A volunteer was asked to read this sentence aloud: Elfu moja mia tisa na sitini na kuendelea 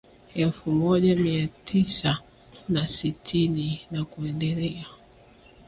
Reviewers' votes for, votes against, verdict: 1, 2, rejected